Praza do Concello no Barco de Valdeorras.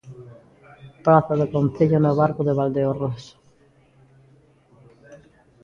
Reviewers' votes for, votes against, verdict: 2, 0, accepted